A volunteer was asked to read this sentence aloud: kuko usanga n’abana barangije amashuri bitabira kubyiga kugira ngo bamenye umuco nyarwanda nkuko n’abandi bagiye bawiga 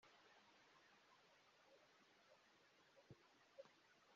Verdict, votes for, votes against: rejected, 0, 2